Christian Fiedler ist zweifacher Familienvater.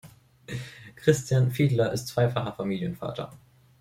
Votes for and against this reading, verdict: 2, 0, accepted